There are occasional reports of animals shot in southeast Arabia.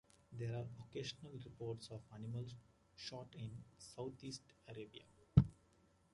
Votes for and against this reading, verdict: 2, 1, accepted